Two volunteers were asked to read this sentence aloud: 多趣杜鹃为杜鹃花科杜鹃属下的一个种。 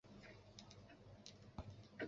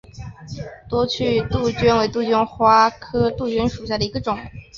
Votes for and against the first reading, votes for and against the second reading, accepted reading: 0, 3, 3, 0, second